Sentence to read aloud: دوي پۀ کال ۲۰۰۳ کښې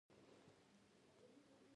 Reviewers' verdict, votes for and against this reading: rejected, 0, 2